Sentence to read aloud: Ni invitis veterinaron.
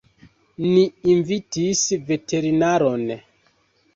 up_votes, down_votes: 2, 1